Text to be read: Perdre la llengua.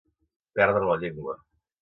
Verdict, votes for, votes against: accepted, 2, 0